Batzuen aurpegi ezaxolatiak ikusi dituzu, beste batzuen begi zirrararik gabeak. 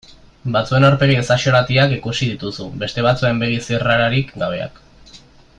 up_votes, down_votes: 2, 0